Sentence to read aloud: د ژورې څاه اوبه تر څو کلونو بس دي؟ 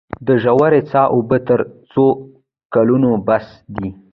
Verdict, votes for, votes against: accepted, 2, 0